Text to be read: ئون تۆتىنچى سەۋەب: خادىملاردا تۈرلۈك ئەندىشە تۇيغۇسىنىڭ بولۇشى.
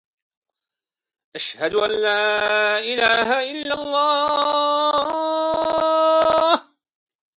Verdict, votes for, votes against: rejected, 0, 2